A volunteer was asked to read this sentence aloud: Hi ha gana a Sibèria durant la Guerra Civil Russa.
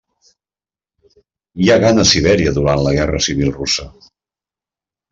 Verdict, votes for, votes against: accepted, 2, 0